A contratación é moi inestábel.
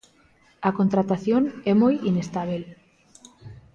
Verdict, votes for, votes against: accepted, 2, 0